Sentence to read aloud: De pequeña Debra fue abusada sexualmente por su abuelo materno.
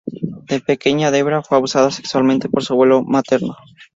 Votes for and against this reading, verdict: 2, 0, accepted